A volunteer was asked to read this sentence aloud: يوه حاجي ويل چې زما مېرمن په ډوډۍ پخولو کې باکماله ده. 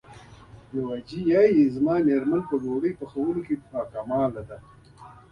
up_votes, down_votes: 0, 2